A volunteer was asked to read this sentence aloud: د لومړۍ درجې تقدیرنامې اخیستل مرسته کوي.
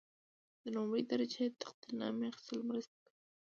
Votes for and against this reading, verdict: 2, 0, accepted